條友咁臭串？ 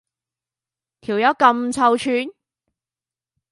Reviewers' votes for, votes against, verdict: 2, 0, accepted